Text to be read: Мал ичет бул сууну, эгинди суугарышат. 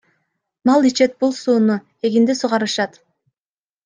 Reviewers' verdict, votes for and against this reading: accepted, 2, 0